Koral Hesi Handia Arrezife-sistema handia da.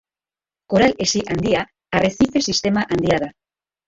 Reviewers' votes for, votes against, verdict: 2, 1, accepted